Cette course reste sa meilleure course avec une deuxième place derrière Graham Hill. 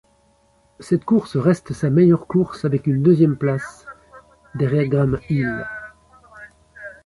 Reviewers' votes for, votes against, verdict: 2, 0, accepted